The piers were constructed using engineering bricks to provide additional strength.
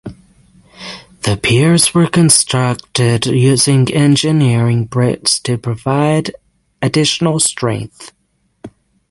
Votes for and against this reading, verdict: 6, 3, accepted